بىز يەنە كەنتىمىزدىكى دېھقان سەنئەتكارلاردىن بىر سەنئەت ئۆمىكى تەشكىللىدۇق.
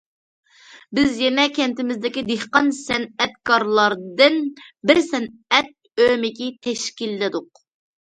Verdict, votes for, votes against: accepted, 2, 0